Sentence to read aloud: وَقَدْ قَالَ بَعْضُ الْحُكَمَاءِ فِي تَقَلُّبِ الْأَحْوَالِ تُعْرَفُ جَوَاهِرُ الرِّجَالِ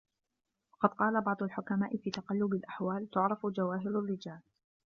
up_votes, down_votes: 1, 2